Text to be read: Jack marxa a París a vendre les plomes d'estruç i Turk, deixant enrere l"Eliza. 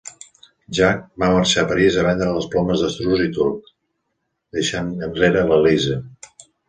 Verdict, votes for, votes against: rejected, 0, 2